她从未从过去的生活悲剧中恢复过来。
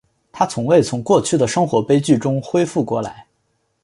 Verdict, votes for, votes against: accepted, 2, 1